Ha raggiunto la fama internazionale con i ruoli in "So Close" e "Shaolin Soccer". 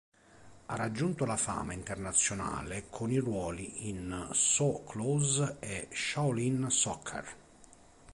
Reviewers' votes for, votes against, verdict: 3, 0, accepted